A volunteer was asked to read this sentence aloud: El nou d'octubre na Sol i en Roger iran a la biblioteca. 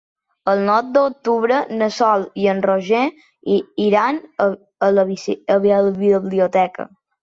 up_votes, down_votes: 0, 2